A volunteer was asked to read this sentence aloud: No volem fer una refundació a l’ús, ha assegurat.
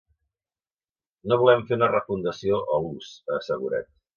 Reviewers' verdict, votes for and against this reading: rejected, 1, 2